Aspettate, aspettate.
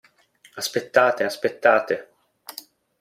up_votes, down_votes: 2, 0